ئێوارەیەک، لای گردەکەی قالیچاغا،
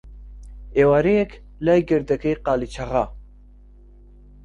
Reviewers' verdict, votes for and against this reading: accepted, 2, 0